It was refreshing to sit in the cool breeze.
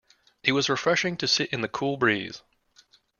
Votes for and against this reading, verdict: 2, 0, accepted